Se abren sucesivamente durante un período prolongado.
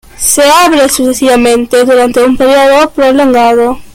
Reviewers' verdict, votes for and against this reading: rejected, 1, 2